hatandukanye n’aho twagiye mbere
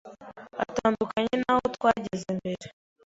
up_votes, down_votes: 1, 2